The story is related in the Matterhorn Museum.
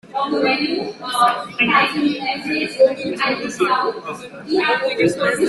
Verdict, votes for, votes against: rejected, 0, 2